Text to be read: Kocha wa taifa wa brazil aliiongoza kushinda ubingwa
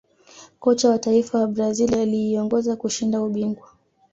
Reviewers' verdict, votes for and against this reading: accepted, 2, 0